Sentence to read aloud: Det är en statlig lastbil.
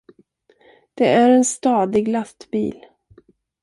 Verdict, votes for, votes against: rejected, 0, 2